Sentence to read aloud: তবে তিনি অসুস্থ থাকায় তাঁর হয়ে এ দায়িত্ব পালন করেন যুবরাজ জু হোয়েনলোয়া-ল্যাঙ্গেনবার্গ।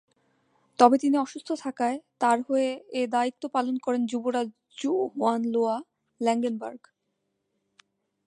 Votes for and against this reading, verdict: 2, 0, accepted